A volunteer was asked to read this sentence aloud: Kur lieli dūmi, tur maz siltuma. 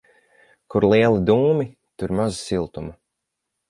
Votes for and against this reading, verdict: 6, 0, accepted